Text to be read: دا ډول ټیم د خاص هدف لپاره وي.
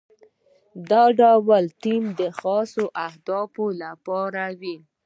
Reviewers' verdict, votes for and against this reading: accepted, 2, 0